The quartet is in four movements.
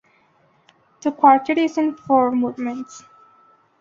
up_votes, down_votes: 2, 1